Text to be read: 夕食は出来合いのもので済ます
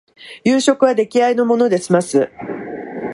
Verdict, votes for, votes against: accepted, 2, 0